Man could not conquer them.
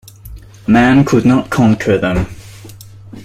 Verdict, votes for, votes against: accepted, 2, 0